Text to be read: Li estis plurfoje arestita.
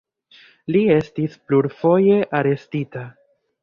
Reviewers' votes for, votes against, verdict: 2, 0, accepted